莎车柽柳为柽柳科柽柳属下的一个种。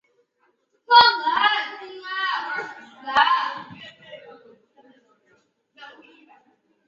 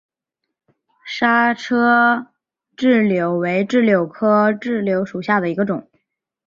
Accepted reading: second